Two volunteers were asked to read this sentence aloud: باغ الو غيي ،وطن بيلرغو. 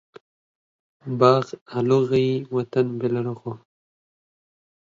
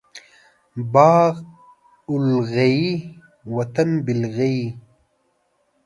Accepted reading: first